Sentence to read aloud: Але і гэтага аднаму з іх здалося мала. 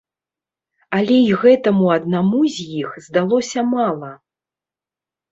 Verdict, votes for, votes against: rejected, 0, 2